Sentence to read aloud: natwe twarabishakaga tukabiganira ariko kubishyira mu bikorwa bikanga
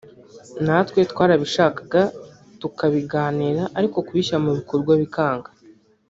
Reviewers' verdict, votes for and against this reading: rejected, 0, 2